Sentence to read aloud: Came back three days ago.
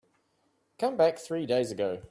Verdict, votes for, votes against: accepted, 2, 1